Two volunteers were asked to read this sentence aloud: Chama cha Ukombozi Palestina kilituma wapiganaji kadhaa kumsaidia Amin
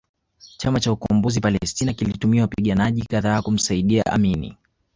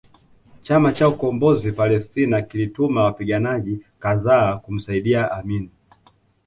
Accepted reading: second